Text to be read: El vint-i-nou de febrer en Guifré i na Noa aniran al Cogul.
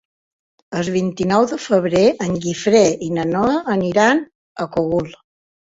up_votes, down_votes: 0, 2